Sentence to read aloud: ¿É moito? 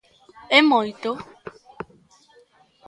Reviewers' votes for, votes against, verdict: 2, 0, accepted